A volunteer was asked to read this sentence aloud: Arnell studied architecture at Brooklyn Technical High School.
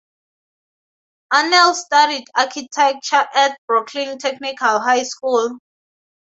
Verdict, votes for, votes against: rejected, 2, 2